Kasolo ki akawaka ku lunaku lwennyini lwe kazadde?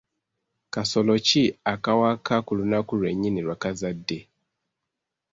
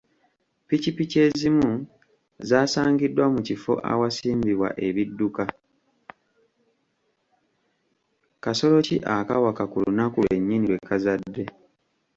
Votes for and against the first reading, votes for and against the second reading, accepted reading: 2, 0, 0, 2, first